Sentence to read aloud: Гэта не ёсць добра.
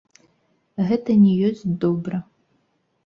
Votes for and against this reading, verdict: 1, 2, rejected